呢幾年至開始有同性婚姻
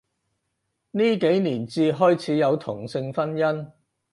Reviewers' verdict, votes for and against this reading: accepted, 4, 0